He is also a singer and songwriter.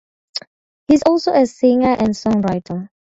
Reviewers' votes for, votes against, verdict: 0, 2, rejected